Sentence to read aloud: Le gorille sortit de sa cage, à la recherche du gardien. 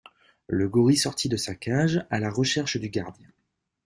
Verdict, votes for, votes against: rejected, 1, 2